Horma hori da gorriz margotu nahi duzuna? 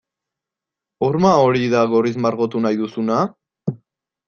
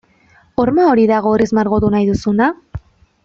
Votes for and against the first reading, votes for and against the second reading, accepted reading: 2, 2, 2, 0, second